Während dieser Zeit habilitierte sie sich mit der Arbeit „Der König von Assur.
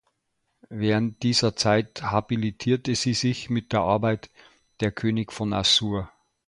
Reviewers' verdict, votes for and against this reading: accepted, 2, 0